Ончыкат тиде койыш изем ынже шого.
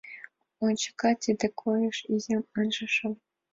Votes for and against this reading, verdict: 2, 1, accepted